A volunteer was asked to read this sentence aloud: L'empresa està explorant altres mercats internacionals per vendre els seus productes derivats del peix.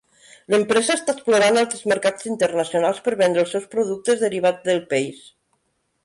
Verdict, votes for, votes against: rejected, 1, 2